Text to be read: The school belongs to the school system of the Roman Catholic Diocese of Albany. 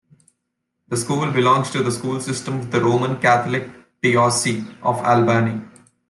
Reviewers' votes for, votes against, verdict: 0, 2, rejected